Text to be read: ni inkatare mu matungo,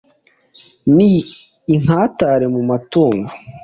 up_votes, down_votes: 2, 1